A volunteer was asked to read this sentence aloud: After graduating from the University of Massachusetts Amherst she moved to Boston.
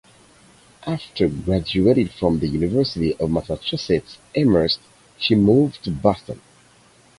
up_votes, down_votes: 2, 4